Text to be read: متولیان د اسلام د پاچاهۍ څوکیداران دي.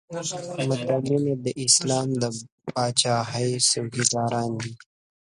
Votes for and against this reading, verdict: 0, 2, rejected